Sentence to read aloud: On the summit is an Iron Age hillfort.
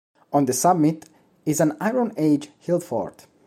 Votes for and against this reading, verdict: 2, 0, accepted